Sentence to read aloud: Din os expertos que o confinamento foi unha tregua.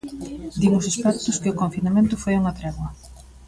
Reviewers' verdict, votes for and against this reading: rejected, 0, 2